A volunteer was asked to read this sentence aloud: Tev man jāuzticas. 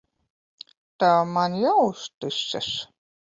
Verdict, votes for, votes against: rejected, 1, 2